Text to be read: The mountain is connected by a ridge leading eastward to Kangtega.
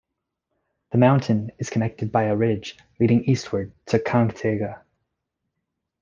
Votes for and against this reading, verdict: 2, 0, accepted